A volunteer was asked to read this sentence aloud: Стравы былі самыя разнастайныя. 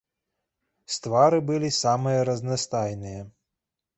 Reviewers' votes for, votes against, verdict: 1, 3, rejected